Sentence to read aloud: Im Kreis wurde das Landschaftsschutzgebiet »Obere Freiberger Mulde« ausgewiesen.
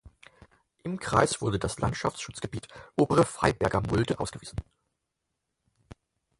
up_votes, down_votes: 4, 0